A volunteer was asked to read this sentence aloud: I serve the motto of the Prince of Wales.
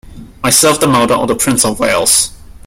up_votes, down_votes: 1, 2